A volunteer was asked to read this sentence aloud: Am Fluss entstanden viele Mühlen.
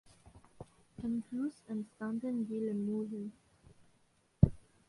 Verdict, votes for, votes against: rejected, 0, 3